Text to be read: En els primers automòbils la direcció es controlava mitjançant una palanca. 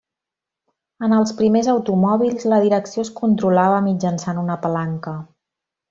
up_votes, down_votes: 1, 2